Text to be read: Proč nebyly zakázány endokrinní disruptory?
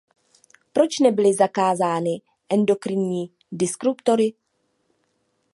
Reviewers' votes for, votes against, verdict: 2, 0, accepted